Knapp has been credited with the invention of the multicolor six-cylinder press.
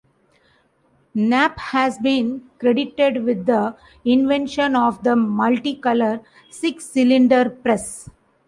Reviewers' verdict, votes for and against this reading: accepted, 2, 0